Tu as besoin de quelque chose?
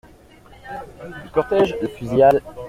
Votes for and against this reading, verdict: 0, 2, rejected